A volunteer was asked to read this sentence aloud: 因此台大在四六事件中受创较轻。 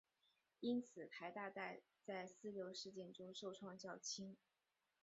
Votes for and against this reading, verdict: 0, 3, rejected